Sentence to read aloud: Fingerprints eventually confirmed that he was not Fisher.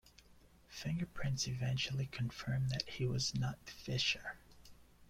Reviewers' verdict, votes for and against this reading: accepted, 2, 0